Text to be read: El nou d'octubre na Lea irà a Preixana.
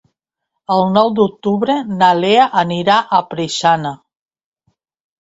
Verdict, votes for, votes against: accepted, 2, 1